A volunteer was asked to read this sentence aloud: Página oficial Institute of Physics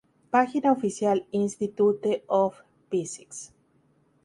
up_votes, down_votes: 0, 2